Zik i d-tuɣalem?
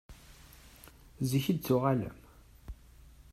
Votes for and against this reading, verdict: 2, 0, accepted